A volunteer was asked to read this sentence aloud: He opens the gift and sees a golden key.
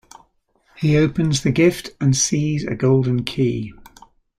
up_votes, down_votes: 2, 0